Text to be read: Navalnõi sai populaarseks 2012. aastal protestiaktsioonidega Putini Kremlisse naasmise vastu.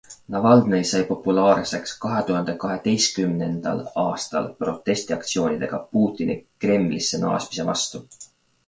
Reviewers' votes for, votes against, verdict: 0, 2, rejected